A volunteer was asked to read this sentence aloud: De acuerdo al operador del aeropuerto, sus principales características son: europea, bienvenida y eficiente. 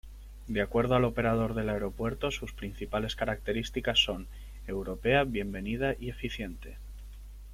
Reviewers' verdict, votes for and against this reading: rejected, 1, 2